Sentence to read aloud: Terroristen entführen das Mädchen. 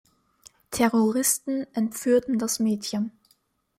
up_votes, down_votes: 1, 2